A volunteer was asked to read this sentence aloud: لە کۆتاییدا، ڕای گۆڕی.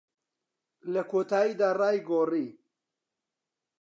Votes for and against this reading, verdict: 2, 0, accepted